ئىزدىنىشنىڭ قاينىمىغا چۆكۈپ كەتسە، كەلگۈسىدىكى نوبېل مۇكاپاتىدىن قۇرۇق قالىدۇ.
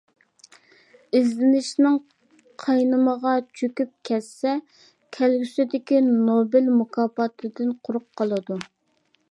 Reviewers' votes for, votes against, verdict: 2, 0, accepted